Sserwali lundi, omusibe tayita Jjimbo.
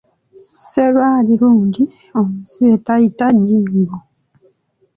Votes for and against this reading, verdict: 1, 2, rejected